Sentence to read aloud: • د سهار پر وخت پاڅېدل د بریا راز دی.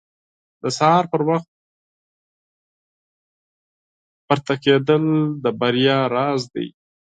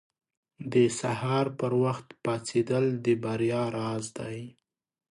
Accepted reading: second